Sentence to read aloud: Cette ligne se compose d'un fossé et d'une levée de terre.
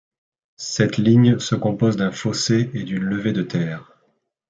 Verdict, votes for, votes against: accepted, 2, 0